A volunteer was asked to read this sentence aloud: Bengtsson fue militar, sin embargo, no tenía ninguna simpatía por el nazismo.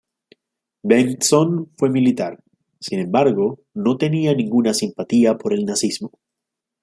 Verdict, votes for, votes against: rejected, 1, 2